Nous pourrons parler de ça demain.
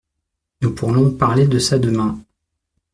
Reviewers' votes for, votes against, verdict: 0, 2, rejected